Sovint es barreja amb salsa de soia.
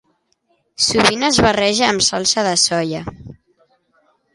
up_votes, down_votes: 2, 0